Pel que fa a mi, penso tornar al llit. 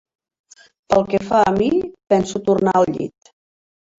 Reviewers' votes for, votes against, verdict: 3, 0, accepted